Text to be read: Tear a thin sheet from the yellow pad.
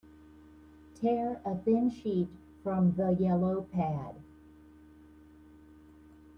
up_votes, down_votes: 2, 0